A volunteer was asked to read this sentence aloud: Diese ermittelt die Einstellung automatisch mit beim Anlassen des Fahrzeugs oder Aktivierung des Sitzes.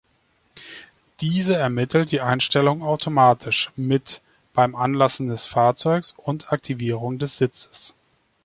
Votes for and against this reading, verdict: 1, 2, rejected